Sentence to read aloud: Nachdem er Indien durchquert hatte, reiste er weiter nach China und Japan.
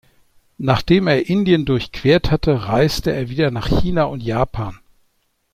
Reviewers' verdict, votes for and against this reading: rejected, 0, 2